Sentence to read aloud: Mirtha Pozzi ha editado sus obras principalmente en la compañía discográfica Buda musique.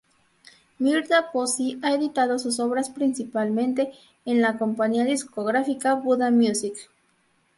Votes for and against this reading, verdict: 0, 2, rejected